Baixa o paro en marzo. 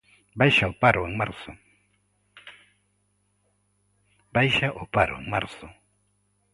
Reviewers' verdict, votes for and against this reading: rejected, 0, 2